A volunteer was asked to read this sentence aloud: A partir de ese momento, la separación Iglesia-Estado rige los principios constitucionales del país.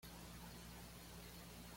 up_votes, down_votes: 1, 2